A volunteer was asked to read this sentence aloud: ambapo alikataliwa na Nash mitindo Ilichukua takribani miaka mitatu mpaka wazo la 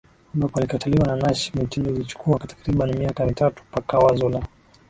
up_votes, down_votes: 2, 1